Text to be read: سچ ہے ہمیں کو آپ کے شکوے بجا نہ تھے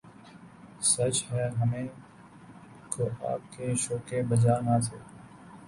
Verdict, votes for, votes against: rejected, 0, 2